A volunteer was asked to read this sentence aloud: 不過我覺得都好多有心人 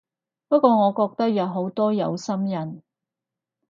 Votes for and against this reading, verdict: 0, 4, rejected